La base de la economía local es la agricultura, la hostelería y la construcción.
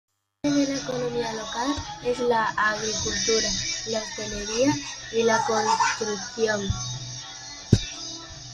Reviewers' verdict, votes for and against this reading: rejected, 0, 2